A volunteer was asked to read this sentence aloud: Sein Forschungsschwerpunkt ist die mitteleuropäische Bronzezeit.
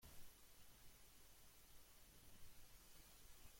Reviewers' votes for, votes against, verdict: 0, 2, rejected